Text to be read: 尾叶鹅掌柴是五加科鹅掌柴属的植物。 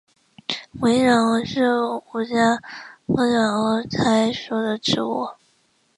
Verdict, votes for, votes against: rejected, 0, 3